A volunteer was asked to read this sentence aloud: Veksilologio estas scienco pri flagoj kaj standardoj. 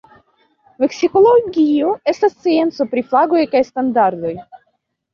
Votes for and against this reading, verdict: 0, 2, rejected